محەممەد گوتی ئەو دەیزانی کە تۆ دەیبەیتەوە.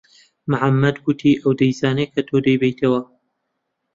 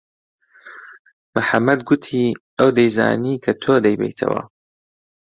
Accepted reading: second